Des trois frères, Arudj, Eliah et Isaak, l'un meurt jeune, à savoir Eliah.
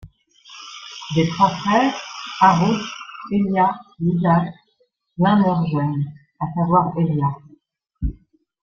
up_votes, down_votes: 1, 2